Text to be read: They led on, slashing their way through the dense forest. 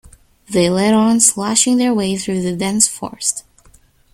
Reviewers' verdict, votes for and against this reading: accepted, 2, 0